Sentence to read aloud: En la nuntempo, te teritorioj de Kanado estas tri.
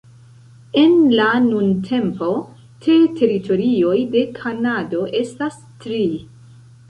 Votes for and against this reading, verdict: 2, 0, accepted